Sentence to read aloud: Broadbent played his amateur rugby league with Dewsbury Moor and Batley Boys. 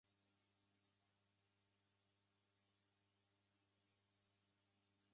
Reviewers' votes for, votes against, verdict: 0, 2, rejected